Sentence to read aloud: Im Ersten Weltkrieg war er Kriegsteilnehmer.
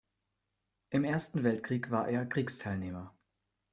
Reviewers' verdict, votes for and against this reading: accepted, 2, 0